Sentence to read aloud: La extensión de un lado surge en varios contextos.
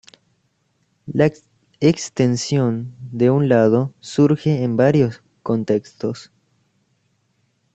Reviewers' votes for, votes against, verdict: 1, 2, rejected